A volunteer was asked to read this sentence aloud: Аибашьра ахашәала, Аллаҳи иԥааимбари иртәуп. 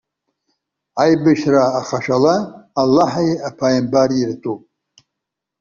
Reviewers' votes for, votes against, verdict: 2, 0, accepted